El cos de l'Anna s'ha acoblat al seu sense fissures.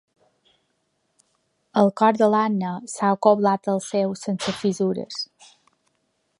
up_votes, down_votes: 1, 2